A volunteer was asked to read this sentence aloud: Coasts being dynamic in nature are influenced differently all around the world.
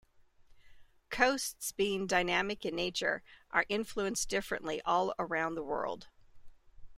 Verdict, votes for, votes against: accepted, 2, 0